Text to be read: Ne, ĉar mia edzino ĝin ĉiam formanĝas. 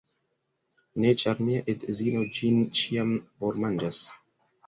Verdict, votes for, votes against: accepted, 2, 0